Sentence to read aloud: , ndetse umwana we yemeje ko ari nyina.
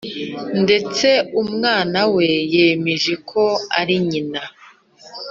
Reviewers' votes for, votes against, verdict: 2, 0, accepted